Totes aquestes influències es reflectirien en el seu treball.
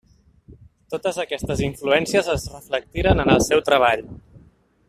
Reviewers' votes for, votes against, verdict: 1, 2, rejected